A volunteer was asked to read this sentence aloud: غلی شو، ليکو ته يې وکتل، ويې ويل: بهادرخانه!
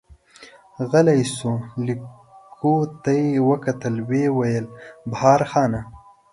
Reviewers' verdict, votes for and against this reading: rejected, 1, 2